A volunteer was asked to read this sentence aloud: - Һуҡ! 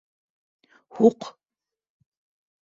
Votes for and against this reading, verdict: 3, 0, accepted